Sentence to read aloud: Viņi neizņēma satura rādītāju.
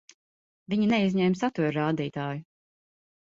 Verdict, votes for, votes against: accepted, 2, 0